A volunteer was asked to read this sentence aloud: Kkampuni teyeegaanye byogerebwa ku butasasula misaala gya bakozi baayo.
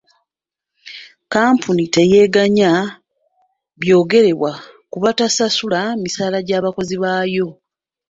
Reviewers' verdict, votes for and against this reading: rejected, 1, 2